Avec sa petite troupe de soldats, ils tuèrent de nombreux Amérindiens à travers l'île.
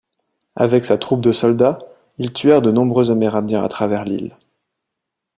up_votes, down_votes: 0, 2